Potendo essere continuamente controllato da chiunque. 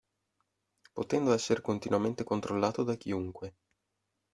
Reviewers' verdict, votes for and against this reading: accepted, 2, 0